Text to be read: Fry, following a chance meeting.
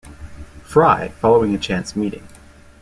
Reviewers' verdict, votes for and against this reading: accepted, 2, 0